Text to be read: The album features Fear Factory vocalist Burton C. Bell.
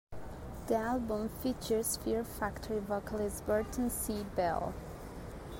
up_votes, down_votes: 2, 0